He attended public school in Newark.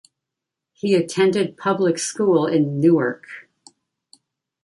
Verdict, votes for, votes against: accepted, 2, 0